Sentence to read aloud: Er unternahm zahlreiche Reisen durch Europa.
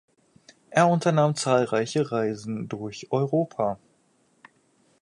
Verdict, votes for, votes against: rejected, 2, 2